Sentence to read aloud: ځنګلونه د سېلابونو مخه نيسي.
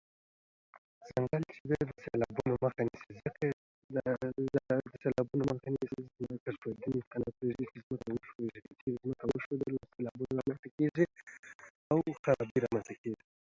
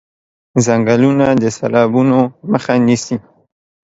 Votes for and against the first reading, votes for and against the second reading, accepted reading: 0, 2, 2, 0, second